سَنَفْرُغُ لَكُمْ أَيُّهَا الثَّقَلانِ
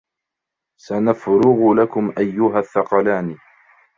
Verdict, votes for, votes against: rejected, 0, 2